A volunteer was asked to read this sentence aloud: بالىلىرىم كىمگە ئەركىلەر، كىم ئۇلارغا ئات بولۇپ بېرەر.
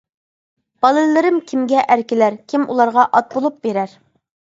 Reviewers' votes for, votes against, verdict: 2, 0, accepted